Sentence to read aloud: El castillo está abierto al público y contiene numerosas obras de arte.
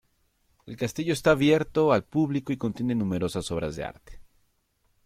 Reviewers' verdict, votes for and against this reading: accepted, 2, 0